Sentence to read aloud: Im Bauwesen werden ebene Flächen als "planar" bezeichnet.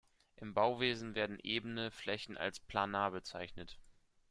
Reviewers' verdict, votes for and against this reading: accepted, 2, 0